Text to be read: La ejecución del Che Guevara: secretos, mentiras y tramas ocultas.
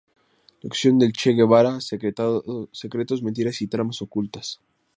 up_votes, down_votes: 0, 2